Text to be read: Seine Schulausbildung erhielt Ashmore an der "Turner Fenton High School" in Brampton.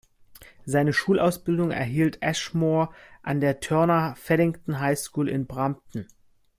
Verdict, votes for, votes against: rejected, 0, 2